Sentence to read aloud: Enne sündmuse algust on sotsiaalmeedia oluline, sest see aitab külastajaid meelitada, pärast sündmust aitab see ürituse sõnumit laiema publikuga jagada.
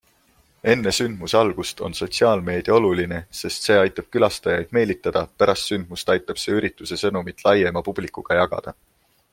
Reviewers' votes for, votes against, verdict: 2, 0, accepted